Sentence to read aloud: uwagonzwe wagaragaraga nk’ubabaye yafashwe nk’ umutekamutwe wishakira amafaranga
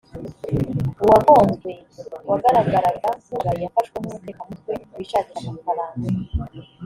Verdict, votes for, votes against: rejected, 1, 3